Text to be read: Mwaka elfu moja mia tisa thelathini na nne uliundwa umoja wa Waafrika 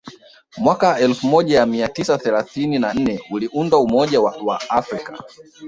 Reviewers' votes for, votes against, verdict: 1, 2, rejected